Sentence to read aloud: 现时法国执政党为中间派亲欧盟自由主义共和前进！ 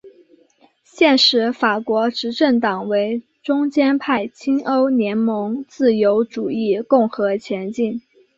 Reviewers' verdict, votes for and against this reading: accepted, 2, 0